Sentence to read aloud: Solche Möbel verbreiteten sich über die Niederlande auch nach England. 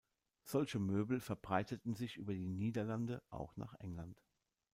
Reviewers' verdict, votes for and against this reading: rejected, 0, 2